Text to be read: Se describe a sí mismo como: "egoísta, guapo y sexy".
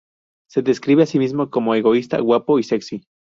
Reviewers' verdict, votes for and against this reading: accepted, 2, 0